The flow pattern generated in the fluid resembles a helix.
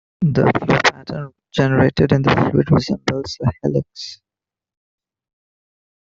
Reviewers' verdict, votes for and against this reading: rejected, 1, 2